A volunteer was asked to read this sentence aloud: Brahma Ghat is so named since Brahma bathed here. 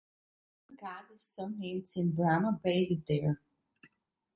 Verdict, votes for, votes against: rejected, 0, 2